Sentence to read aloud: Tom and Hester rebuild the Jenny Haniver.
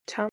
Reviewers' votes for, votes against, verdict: 0, 3, rejected